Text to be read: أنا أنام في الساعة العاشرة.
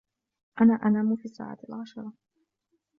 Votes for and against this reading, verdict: 0, 2, rejected